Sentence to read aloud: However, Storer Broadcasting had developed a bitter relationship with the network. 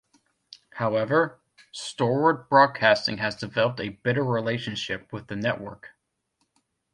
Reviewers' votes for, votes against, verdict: 1, 2, rejected